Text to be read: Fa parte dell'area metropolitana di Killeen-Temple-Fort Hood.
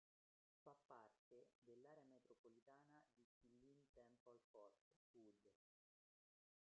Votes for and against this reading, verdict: 0, 2, rejected